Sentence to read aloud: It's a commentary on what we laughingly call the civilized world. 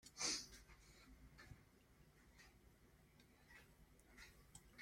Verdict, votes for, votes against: rejected, 0, 2